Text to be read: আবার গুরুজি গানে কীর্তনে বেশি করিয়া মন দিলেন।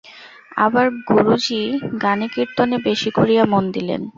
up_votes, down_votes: 2, 0